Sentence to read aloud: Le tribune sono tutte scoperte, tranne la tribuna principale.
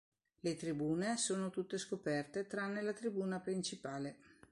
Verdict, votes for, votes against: accepted, 2, 0